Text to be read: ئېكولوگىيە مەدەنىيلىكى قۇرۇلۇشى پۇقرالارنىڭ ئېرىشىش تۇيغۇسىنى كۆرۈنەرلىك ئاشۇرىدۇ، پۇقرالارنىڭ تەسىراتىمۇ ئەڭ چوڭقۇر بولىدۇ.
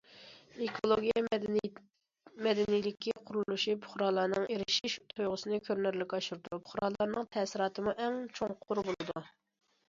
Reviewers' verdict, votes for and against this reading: rejected, 0, 2